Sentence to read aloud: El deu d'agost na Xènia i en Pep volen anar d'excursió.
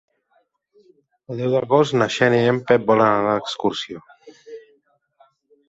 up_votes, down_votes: 2, 0